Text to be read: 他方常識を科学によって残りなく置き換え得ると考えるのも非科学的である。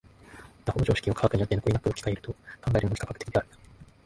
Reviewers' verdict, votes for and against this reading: rejected, 0, 2